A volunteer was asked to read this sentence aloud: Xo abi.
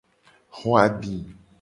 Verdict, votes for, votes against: accepted, 2, 0